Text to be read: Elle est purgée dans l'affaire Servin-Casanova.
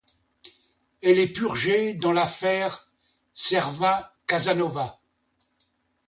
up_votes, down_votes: 2, 0